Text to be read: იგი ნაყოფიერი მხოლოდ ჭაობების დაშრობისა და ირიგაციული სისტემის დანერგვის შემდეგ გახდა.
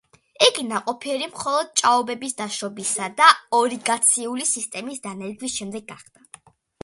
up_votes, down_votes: 0, 2